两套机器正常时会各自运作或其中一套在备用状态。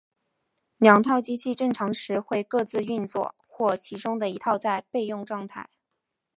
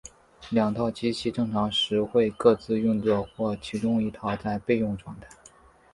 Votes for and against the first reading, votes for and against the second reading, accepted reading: 3, 1, 1, 2, first